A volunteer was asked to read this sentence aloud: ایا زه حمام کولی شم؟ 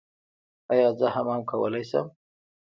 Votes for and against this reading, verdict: 0, 2, rejected